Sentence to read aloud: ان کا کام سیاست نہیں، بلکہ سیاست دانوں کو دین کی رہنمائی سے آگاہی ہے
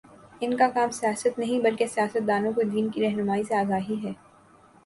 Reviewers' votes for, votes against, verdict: 2, 0, accepted